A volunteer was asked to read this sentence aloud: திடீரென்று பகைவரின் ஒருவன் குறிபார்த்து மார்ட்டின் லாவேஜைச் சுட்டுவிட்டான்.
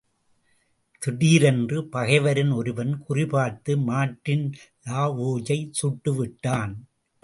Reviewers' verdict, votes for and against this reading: rejected, 0, 2